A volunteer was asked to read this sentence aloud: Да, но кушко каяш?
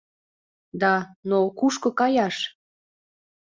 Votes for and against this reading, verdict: 3, 0, accepted